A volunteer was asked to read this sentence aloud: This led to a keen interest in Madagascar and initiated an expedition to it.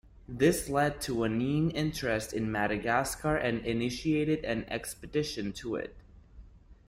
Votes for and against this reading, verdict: 1, 2, rejected